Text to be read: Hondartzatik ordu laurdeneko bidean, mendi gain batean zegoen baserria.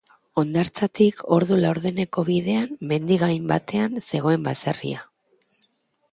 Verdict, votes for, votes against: accepted, 4, 0